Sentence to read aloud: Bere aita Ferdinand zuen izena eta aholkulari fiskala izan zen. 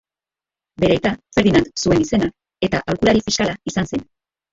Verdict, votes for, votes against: rejected, 1, 3